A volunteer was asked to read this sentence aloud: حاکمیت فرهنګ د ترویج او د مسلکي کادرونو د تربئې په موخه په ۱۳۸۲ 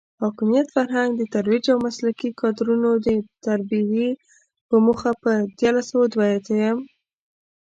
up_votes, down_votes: 0, 2